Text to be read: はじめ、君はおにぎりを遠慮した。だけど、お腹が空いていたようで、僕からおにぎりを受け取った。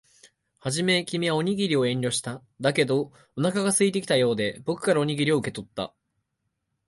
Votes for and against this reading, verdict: 2, 0, accepted